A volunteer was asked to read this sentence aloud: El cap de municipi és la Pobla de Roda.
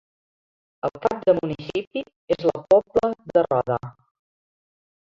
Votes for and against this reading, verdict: 0, 2, rejected